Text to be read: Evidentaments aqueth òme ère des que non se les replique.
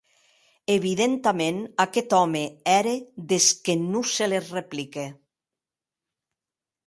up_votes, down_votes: 2, 0